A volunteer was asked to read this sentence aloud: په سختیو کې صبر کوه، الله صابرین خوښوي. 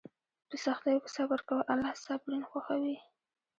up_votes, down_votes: 2, 0